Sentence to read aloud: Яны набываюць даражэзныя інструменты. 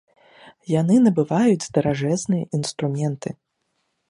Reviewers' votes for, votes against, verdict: 2, 0, accepted